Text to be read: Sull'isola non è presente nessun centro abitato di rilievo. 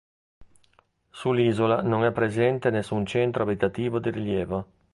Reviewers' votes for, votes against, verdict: 1, 2, rejected